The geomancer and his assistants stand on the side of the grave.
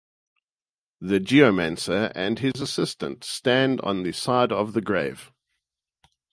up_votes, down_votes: 4, 0